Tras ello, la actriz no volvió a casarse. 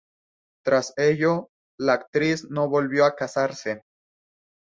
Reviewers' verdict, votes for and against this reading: accepted, 4, 0